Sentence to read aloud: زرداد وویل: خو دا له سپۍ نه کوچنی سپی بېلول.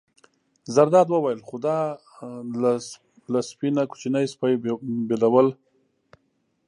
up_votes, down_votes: 2, 1